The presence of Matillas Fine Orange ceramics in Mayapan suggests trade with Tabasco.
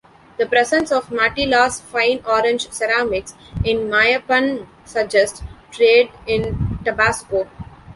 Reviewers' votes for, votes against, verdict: 0, 2, rejected